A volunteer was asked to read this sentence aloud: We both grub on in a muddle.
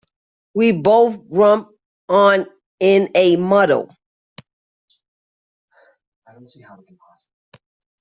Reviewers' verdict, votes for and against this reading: rejected, 0, 2